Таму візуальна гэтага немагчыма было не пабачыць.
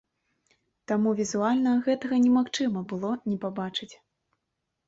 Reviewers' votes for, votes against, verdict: 2, 0, accepted